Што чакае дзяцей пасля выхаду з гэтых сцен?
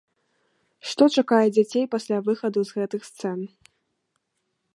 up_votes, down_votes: 1, 2